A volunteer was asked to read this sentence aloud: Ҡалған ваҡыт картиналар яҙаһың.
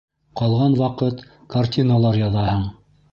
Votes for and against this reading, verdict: 2, 0, accepted